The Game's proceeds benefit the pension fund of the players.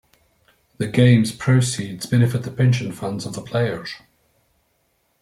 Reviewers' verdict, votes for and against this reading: rejected, 0, 2